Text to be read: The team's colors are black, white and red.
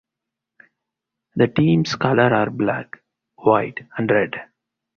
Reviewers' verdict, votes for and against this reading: accepted, 4, 0